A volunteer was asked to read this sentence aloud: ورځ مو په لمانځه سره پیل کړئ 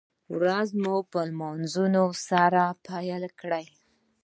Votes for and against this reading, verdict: 0, 2, rejected